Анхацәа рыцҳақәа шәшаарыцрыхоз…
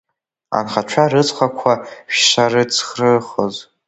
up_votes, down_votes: 0, 2